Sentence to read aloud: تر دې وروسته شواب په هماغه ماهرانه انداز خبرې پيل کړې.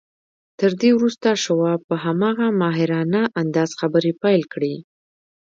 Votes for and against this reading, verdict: 4, 3, accepted